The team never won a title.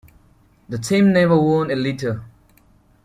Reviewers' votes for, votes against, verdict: 0, 2, rejected